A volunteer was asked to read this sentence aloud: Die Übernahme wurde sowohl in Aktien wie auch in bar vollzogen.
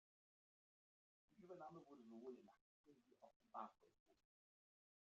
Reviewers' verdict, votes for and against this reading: rejected, 1, 2